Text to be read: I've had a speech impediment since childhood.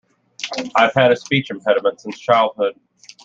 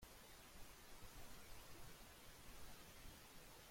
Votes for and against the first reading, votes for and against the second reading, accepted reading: 2, 0, 0, 2, first